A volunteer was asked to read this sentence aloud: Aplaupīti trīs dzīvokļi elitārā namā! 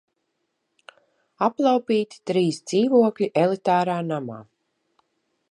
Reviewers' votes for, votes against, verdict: 2, 0, accepted